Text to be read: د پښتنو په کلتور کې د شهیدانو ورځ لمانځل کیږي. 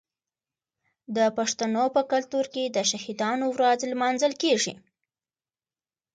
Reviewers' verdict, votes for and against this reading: accepted, 2, 0